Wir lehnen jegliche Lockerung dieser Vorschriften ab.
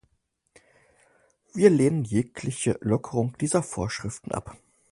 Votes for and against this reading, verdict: 4, 0, accepted